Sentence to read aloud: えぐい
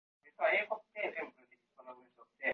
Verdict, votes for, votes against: rejected, 0, 2